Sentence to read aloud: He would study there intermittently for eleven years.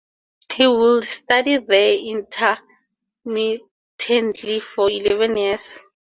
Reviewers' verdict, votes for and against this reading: accepted, 2, 0